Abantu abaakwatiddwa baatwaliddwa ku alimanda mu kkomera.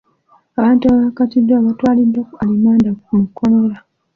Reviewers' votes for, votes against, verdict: 2, 1, accepted